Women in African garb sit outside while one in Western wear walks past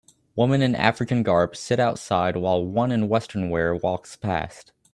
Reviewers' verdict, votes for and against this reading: accepted, 2, 0